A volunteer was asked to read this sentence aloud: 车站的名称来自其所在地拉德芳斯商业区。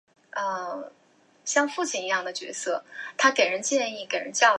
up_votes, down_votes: 3, 6